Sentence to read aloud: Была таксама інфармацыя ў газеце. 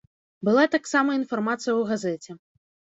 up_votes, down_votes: 1, 2